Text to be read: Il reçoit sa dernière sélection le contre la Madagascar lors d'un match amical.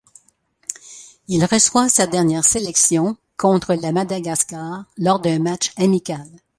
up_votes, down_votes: 0, 2